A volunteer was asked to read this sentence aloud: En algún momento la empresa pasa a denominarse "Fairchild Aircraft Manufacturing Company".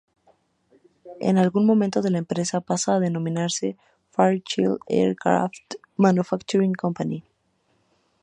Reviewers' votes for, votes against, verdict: 2, 0, accepted